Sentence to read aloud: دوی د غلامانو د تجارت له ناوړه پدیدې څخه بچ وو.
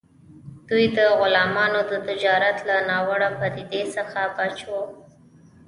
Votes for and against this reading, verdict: 1, 2, rejected